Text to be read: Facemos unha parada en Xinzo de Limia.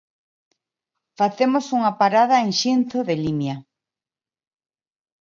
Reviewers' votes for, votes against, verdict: 2, 1, accepted